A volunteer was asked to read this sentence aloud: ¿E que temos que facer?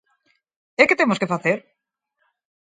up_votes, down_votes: 4, 0